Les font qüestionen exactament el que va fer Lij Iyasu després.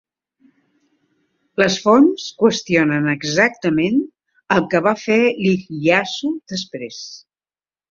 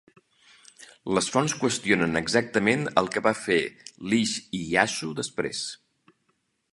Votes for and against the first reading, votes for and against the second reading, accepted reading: 1, 2, 2, 1, second